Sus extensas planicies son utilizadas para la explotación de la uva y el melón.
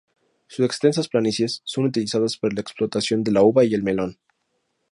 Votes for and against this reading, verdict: 2, 0, accepted